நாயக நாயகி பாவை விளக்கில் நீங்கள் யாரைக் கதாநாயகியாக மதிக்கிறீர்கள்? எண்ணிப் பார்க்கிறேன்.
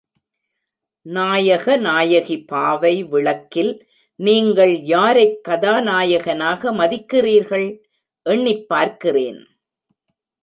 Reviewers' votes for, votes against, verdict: 1, 2, rejected